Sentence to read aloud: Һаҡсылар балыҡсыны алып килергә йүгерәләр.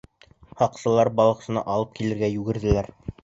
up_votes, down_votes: 1, 2